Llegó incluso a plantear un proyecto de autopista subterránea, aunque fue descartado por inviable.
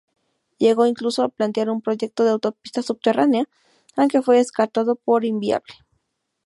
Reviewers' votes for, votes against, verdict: 2, 0, accepted